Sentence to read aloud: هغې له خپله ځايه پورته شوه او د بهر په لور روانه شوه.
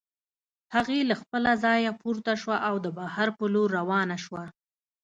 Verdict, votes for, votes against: accepted, 2, 0